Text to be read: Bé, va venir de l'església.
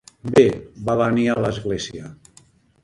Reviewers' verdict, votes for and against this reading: rejected, 0, 2